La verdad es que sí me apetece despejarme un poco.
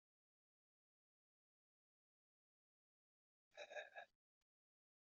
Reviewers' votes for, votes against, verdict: 0, 2, rejected